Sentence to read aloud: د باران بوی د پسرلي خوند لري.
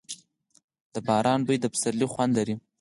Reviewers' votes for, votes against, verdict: 4, 0, accepted